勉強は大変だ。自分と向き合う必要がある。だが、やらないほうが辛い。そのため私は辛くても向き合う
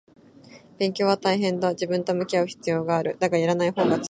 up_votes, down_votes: 1, 2